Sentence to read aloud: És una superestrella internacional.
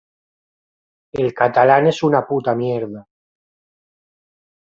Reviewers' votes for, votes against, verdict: 0, 2, rejected